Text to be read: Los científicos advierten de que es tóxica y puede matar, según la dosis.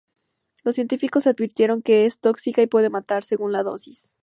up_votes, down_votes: 0, 2